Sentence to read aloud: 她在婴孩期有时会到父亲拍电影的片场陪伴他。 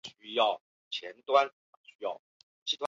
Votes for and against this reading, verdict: 1, 2, rejected